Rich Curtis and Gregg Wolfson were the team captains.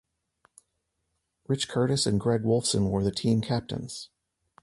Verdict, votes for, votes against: accepted, 2, 0